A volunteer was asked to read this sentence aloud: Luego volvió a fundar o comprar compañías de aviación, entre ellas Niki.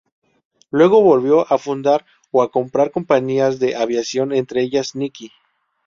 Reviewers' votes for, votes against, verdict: 0, 2, rejected